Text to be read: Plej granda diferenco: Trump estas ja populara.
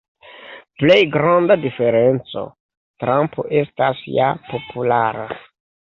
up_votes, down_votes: 2, 0